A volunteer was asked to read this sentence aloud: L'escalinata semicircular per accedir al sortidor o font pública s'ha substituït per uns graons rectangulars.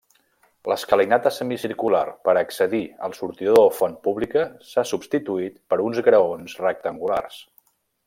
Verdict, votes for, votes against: rejected, 1, 2